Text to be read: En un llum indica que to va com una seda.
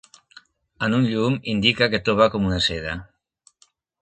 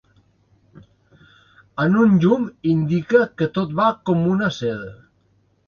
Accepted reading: first